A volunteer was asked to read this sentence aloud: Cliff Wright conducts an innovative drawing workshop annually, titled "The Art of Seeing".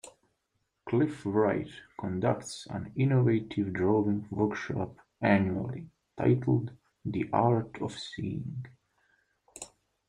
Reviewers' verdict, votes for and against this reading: accepted, 2, 1